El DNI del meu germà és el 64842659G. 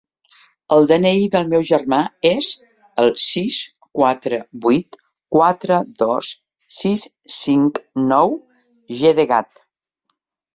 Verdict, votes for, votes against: rejected, 0, 2